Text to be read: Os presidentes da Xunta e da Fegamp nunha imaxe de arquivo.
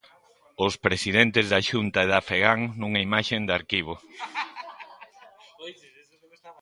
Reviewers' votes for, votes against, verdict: 0, 3, rejected